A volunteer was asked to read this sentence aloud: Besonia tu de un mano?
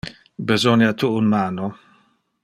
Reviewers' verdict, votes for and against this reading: rejected, 0, 2